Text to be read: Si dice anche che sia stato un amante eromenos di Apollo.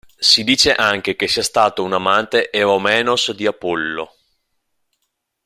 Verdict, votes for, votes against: rejected, 1, 2